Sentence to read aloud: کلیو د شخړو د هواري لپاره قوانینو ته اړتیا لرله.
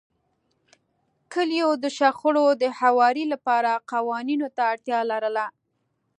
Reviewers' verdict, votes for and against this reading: accepted, 2, 0